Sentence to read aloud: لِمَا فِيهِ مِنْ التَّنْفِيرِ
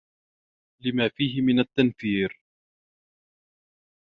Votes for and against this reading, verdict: 2, 0, accepted